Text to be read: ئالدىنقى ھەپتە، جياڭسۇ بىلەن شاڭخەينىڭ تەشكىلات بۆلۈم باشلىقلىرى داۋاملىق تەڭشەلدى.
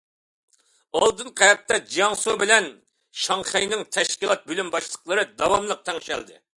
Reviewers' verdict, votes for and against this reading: accepted, 2, 0